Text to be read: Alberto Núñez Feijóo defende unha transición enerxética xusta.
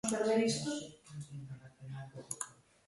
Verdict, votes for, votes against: rejected, 0, 2